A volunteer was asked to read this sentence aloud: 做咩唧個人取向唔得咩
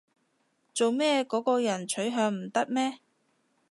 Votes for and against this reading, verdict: 0, 2, rejected